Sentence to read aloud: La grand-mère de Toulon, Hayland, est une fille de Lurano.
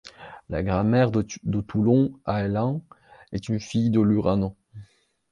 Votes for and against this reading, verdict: 0, 2, rejected